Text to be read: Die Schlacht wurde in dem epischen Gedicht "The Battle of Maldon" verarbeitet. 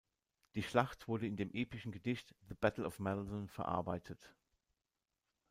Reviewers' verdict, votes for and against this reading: rejected, 1, 2